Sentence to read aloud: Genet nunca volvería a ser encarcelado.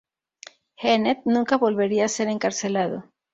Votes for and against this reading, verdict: 2, 0, accepted